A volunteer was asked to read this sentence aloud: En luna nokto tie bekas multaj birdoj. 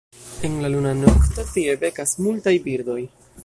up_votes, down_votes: 0, 2